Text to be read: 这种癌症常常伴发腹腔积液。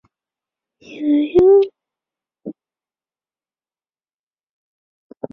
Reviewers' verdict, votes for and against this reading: rejected, 0, 3